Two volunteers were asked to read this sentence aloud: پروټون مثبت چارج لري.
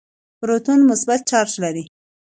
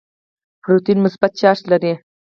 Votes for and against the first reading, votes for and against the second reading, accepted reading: 2, 0, 0, 4, first